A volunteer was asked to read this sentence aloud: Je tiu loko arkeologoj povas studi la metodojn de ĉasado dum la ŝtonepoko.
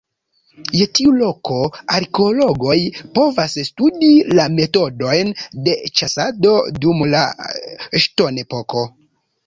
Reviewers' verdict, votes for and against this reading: rejected, 1, 2